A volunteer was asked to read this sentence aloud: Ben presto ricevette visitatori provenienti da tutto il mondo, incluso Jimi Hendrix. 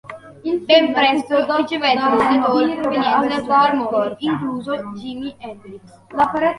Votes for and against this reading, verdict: 0, 2, rejected